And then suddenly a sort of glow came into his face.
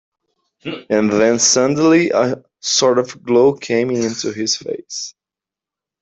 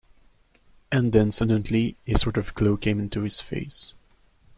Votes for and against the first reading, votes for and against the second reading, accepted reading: 1, 2, 2, 0, second